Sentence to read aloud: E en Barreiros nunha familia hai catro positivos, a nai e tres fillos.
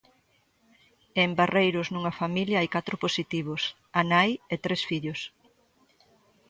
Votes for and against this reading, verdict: 0, 2, rejected